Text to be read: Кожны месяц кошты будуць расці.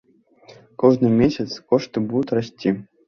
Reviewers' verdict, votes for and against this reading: rejected, 1, 2